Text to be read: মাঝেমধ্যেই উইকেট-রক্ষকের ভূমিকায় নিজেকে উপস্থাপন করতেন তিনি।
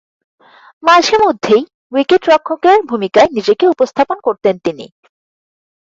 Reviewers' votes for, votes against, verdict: 4, 0, accepted